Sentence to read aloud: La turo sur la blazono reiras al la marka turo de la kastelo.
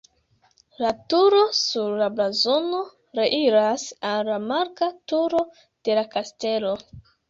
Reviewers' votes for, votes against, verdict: 1, 2, rejected